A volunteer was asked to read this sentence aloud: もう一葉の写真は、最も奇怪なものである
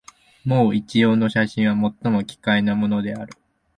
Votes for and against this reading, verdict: 2, 1, accepted